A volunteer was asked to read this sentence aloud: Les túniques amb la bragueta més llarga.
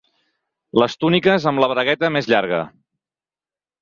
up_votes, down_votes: 4, 0